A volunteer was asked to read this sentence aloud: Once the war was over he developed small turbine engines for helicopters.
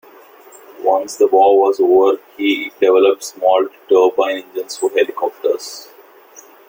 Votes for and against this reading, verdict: 0, 2, rejected